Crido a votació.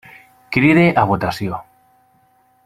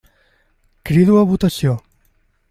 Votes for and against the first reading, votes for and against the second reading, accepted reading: 1, 2, 2, 0, second